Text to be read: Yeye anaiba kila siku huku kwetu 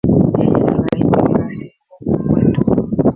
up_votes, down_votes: 0, 2